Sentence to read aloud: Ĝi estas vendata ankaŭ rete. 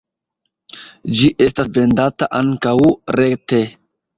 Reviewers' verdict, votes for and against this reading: accepted, 2, 0